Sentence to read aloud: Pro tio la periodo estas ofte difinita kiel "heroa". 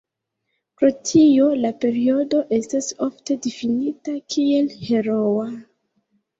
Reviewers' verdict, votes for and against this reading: accepted, 2, 0